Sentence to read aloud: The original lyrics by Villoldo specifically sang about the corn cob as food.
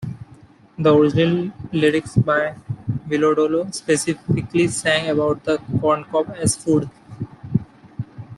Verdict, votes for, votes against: rejected, 1, 2